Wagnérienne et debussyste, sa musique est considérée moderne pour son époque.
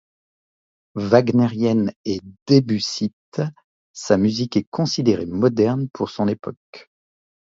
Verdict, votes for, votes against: rejected, 0, 2